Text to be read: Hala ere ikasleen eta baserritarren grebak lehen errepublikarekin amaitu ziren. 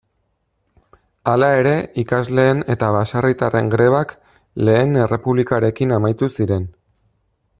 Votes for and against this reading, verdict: 2, 0, accepted